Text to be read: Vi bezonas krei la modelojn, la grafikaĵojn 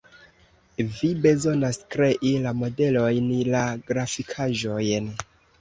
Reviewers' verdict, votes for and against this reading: accepted, 2, 0